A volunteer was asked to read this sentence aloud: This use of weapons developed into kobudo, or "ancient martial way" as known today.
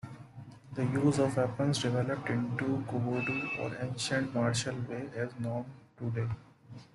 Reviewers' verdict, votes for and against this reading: rejected, 0, 2